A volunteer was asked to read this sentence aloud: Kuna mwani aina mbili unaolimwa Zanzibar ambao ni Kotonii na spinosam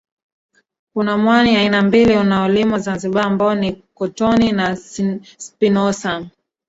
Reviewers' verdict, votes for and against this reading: rejected, 1, 2